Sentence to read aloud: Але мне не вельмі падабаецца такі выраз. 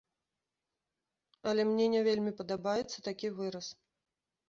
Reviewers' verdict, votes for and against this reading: accepted, 2, 0